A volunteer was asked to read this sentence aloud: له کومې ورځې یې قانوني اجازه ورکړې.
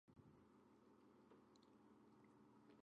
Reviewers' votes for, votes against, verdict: 0, 2, rejected